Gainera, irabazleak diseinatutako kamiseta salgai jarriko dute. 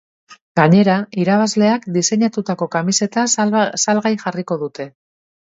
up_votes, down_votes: 0, 3